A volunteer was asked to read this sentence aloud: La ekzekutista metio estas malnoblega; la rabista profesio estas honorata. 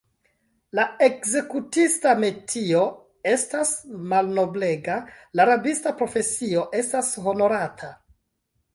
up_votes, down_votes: 2, 0